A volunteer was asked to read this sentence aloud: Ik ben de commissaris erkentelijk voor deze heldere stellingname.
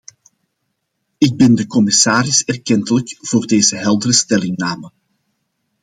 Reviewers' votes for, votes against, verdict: 2, 0, accepted